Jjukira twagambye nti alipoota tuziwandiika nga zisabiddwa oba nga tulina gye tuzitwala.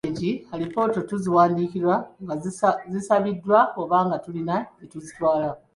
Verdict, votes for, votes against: rejected, 1, 2